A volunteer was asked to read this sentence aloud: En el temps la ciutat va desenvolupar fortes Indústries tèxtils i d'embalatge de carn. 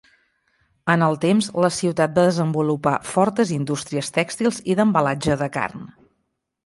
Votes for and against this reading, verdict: 3, 0, accepted